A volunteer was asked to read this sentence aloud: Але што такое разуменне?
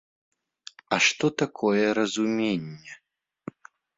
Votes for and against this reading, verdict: 1, 2, rejected